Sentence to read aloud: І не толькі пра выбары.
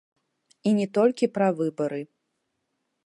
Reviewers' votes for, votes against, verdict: 0, 2, rejected